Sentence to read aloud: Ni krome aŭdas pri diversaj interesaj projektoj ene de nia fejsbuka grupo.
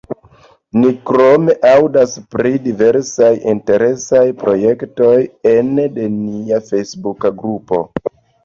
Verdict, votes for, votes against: accepted, 2, 1